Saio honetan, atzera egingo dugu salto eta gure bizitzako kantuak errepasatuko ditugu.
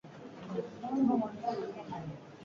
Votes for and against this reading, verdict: 0, 4, rejected